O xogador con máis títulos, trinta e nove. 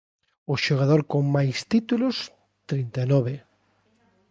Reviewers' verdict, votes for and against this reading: accepted, 2, 0